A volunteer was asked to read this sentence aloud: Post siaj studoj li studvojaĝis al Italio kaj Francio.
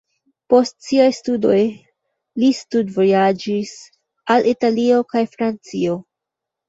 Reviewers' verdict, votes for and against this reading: rejected, 1, 2